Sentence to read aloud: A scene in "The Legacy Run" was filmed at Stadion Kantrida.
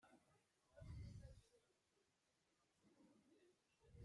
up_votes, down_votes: 0, 2